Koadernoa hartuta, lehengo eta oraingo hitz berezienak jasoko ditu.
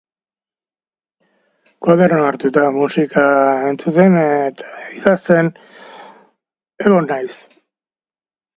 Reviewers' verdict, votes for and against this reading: rejected, 0, 2